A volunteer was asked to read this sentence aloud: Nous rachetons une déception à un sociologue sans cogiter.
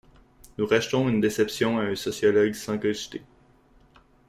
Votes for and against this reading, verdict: 2, 0, accepted